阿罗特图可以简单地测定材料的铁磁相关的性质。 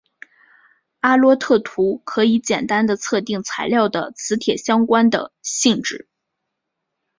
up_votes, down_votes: 1, 5